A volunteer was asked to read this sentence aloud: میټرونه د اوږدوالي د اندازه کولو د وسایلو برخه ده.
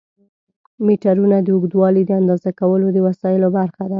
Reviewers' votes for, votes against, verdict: 3, 0, accepted